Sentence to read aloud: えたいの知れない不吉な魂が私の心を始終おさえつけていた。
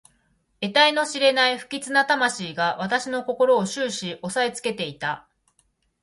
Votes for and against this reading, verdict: 0, 2, rejected